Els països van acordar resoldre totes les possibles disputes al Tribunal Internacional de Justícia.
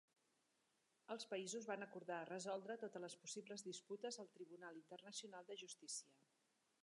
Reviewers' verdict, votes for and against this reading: accepted, 3, 1